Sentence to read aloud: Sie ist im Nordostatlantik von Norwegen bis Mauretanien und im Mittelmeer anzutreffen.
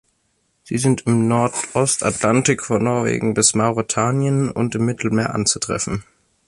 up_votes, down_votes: 1, 2